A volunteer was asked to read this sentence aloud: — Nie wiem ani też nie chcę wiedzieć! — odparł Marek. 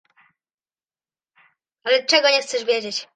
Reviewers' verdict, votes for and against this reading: rejected, 0, 2